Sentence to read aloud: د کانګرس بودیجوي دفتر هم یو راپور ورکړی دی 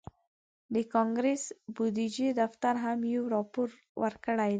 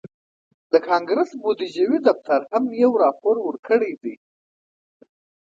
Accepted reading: second